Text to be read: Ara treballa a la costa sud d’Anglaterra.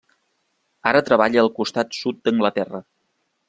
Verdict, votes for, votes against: rejected, 0, 2